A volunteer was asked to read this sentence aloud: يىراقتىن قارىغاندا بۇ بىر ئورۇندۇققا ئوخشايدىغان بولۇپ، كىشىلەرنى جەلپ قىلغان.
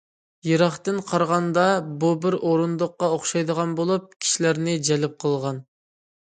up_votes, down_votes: 2, 0